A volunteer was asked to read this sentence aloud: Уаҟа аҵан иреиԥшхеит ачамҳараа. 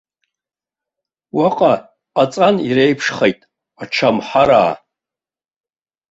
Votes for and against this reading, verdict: 1, 2, rejected